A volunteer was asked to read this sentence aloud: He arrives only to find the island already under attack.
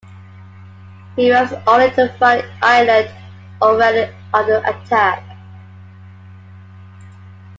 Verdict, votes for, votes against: rejected, 0, 2